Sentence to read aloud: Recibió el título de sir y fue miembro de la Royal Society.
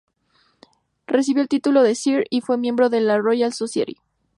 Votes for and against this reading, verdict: 6, 0, accepted